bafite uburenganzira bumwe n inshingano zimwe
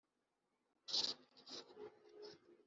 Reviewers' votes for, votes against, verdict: 0, 2, rejected